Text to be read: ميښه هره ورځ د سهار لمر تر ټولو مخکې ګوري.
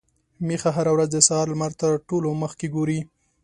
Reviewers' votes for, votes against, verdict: 2, 0, accepted